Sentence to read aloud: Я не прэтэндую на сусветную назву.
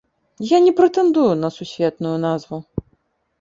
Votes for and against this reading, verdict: 2, 0, accepted